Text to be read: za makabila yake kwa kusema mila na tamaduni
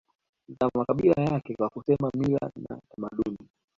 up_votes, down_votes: 0, 2